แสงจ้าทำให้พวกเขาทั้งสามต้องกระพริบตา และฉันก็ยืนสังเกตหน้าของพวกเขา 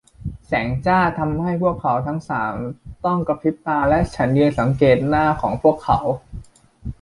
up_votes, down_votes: 1, 2